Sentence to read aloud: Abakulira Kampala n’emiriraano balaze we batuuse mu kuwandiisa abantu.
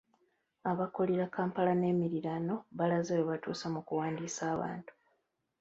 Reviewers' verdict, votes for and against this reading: rejected, 2, 3